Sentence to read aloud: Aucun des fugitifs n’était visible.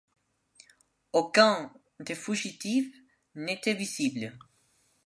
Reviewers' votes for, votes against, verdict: 2, 1, accepted